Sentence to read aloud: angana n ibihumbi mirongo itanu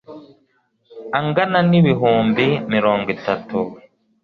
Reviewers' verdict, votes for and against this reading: rejected, 2, 3